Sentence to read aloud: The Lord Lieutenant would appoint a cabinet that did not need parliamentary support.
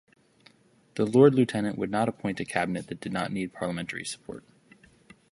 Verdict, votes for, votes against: accepted, 2, 0